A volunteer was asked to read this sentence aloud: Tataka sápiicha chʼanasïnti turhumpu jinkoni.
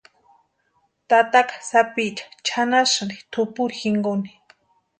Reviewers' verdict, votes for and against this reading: rejected, 0, 2